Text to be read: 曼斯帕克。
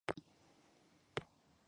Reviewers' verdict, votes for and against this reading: rejected, 0, 2